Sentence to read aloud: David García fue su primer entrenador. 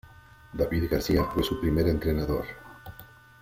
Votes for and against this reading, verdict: 2, 0, accepted